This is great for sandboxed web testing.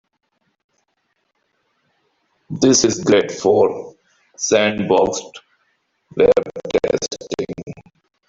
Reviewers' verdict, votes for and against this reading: rejected, 1, 2